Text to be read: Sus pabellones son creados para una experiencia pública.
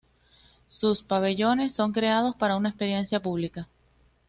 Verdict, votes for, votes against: accepted, 2, 0